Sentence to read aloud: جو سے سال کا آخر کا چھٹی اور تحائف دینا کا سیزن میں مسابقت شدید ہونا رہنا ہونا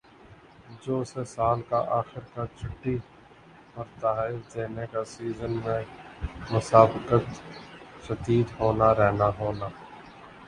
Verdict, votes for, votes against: rejected, 1, 2